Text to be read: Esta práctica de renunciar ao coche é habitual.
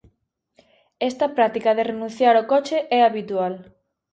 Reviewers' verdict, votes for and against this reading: accepted, 2, 0